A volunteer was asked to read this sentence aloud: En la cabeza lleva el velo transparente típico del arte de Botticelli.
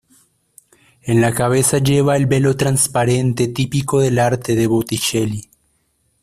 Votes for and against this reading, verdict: 2, 0, accepted